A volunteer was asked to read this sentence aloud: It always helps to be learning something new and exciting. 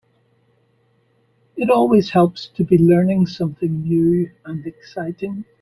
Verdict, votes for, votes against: accepted, 3, 0